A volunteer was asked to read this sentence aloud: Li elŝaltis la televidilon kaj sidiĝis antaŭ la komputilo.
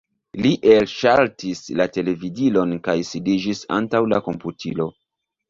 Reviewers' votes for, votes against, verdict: 0, 2, rejected